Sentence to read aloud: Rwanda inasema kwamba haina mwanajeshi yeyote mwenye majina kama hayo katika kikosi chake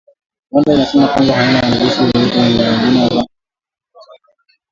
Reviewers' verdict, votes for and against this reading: rejected, 1, 2